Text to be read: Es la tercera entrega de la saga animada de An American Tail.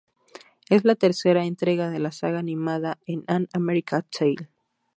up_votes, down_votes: 2, 0